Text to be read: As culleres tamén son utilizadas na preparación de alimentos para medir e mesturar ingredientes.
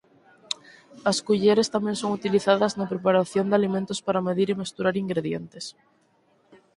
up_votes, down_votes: 0, 4